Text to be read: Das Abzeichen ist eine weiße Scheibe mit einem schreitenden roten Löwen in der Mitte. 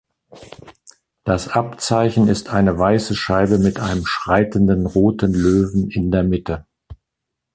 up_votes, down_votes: 2, 0